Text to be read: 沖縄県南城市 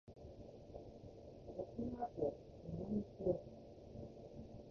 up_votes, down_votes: 1, 2